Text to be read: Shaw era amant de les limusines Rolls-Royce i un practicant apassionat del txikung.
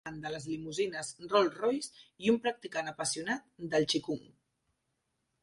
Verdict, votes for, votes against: rejected, 1, 2